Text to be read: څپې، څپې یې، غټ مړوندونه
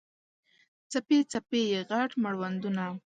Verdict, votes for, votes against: accepted, 2, 0